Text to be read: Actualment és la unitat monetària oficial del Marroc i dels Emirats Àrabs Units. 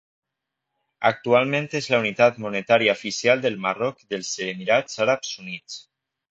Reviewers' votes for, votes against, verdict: 0, 2, rejected